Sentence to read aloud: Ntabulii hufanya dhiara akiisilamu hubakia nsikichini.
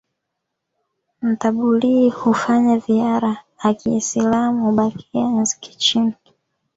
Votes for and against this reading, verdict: 2, 1, accepted